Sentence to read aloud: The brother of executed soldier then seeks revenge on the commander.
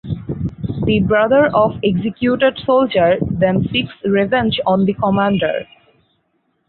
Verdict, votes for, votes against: accepted, 4, 0